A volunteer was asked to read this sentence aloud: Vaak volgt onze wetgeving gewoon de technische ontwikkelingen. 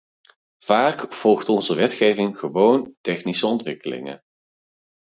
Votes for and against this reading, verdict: 0, 4, rejected